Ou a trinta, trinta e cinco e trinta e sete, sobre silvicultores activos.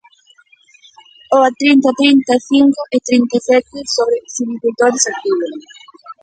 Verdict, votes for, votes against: rejected, 0, 3